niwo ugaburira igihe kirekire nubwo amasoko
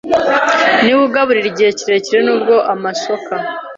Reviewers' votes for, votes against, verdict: 1, 2, rejected